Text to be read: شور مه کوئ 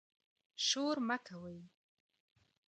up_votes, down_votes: 2, 0